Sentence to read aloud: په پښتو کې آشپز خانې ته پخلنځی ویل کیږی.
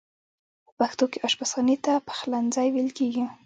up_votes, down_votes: 1, 2